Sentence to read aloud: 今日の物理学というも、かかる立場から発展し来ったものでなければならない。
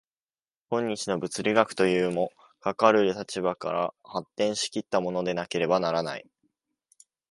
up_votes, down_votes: 2, 0